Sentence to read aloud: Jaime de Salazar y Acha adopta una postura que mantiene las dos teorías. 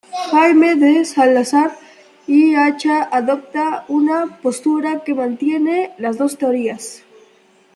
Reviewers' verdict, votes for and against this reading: accepted, 2, 0